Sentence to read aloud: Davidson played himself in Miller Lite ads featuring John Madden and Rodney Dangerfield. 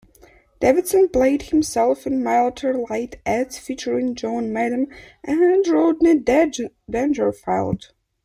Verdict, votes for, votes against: rejected, 0, 2